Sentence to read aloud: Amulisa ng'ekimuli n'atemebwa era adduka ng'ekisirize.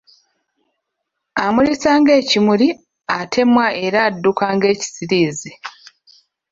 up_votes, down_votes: 0, 2